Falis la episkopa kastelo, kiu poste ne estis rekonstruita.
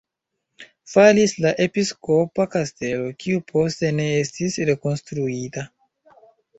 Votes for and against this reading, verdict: 2, 0, accepted